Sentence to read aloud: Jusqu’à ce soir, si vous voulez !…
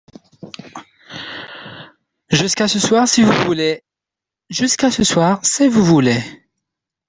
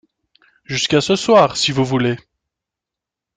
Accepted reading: second